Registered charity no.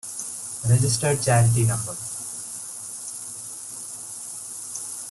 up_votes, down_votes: 2, 0